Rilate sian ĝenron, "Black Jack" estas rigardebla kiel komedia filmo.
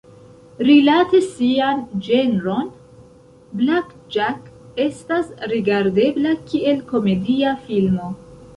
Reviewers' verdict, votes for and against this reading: accepted, 2, 0